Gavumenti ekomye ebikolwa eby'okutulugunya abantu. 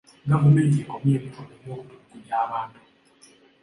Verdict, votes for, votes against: accepted, 2, 0